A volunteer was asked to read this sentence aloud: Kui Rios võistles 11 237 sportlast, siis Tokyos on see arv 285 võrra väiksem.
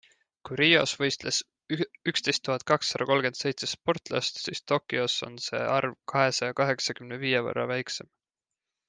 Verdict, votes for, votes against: rejected, 0, 2